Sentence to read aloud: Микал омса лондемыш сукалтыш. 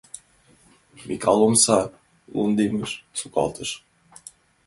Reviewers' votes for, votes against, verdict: 1, 2, rejected